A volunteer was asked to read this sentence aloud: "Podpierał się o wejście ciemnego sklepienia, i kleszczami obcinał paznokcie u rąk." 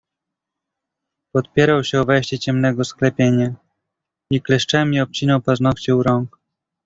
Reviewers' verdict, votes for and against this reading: rejected, 1, 2